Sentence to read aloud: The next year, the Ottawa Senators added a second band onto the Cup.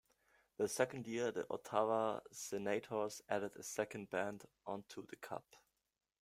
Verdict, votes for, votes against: rejected, 1, 2